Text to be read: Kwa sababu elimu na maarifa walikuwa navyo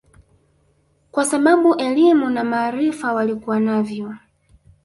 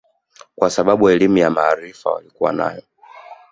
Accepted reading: second